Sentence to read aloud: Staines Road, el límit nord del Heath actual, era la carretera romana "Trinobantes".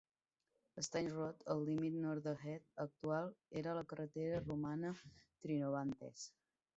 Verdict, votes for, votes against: accepted, 2, 1